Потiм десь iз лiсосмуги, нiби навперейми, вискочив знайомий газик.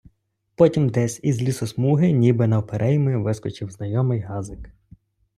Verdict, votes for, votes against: accepted, 2, 0